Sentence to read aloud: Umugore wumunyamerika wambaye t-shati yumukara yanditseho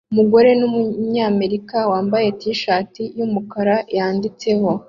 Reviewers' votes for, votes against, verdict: 0, 2, rejected